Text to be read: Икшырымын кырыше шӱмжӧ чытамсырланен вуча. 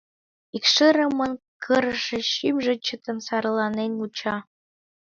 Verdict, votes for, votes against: rejected, 1, 2